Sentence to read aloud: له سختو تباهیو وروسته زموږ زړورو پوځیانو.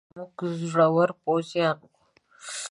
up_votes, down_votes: 0, 5